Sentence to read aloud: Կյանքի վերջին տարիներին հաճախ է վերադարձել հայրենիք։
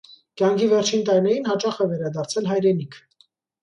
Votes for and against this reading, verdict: 2, 0, accepted